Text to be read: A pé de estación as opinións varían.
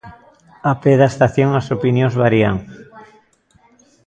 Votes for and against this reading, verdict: 1, 2, rejected